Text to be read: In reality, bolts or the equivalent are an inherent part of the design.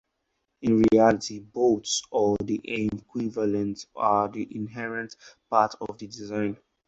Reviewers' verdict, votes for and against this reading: rejected, 2, 2